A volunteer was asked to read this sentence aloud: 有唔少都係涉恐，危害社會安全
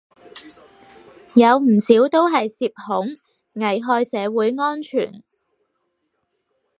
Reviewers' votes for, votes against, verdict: 4, 0, accepted